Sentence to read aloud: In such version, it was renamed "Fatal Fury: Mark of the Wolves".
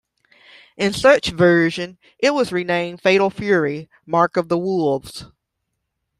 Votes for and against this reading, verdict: 2, 0, accepted